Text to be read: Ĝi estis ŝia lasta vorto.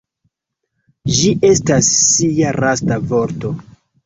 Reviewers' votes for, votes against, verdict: 1, 2, rejected